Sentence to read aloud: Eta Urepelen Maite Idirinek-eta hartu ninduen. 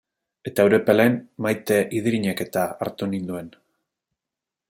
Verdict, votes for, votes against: accepted, 2, 0